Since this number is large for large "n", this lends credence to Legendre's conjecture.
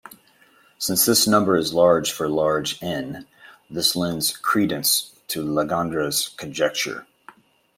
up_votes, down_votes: 1, 2